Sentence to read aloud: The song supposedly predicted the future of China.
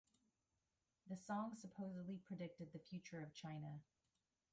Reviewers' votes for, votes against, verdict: 2, 0, accepted